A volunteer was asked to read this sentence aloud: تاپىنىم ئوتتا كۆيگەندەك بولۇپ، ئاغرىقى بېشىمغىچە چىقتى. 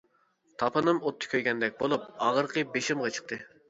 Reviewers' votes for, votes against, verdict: 0, 2, rejected